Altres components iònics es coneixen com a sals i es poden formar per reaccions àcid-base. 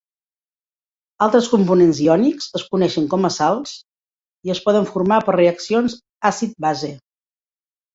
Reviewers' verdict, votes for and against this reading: accepted, 2, 0